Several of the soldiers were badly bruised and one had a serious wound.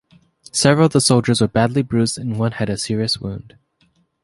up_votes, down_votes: 2, 1